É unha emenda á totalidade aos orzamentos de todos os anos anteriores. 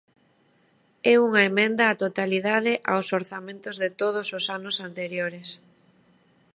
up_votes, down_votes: 2, 0